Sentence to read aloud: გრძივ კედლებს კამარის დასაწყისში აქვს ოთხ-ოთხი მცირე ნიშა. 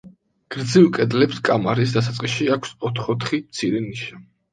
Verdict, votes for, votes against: accepted, 2, 0